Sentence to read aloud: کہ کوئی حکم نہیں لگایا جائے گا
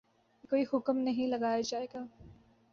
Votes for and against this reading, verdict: 2, 0, accepted